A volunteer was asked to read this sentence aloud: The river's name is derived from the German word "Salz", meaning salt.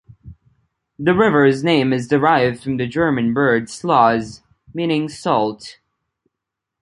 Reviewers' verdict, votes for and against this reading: rejected, 0, 2